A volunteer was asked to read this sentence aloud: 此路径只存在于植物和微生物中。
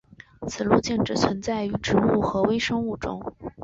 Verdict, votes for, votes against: accepted, 2, 0